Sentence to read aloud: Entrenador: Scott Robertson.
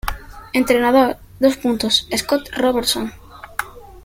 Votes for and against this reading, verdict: 1, 2, rejected